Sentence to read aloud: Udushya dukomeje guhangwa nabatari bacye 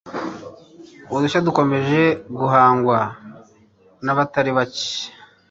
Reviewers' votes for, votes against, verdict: 3, 0, accepted